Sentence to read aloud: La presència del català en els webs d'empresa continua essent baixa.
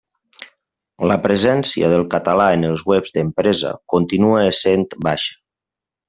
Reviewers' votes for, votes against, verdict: 1, 2, rejected